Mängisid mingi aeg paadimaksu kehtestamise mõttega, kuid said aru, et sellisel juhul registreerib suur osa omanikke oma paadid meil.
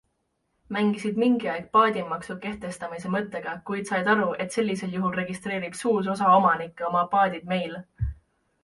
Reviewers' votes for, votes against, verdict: 2, 1, accepted